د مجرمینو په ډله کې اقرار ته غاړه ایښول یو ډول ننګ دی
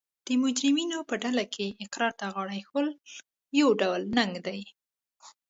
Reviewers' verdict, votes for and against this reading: accepted, 2, 0